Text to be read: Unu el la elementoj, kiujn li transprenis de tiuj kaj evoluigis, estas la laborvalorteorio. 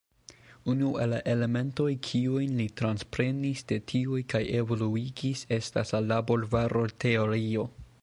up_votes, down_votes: 3, 2